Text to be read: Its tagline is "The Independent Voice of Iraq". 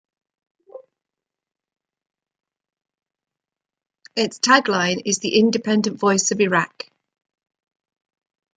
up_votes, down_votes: 1, 2